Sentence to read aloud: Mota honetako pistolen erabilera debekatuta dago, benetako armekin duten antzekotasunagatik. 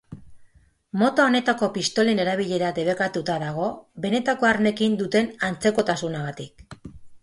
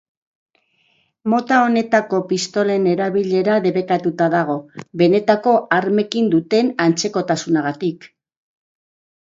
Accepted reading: first